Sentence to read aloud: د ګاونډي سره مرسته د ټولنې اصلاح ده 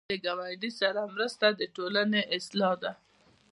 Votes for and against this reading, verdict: 2, 0, accepted